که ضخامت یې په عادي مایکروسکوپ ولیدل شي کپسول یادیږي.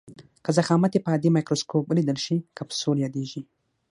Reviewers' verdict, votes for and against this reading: accepted, 6, 0